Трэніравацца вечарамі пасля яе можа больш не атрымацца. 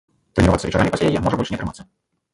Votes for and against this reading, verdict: 1, 2, rejected